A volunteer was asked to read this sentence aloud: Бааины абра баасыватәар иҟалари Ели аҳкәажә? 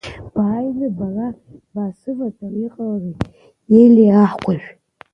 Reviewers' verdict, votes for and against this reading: rejected, 0, 2